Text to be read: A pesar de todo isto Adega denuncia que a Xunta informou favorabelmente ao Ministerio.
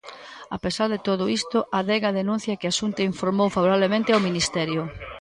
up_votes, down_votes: 0, 2